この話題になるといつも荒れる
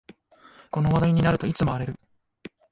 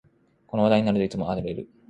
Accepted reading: first